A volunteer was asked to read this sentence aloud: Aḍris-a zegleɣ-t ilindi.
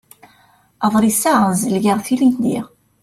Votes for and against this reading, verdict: 0, 2, rejected